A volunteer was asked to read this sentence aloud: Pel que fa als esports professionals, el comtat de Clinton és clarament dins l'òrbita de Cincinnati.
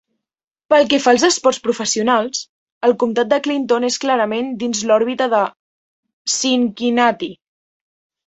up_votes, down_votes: 1, 2